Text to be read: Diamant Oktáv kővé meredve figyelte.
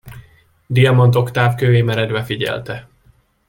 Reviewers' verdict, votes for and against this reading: accepted, 2, 0